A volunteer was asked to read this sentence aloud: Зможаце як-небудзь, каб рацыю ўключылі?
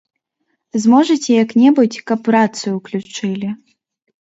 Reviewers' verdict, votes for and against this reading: accepted, 2, 0